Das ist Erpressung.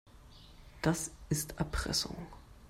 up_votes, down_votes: 2, 0